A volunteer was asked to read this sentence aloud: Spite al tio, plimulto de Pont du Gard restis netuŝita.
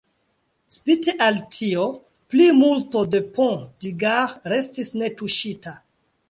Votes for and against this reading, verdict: 2, 1, accepted